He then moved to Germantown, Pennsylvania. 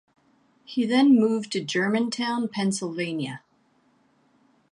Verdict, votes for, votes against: accepted, 2, 0